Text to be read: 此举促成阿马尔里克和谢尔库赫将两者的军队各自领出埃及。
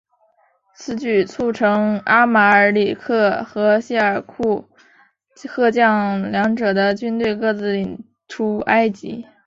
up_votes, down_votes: 0, 2